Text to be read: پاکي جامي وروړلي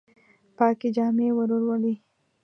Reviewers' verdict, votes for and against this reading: rejected, 0, 2